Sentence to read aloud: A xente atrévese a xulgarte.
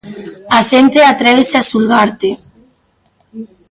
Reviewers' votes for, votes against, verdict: 2, 0, accepted